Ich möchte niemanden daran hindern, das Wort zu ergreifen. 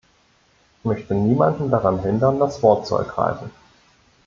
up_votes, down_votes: 1, 2